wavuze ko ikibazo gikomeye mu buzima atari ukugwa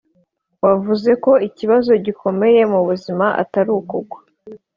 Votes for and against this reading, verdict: 3, 0, accepted